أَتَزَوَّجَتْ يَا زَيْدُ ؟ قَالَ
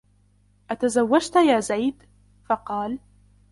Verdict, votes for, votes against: rejected, 0, 2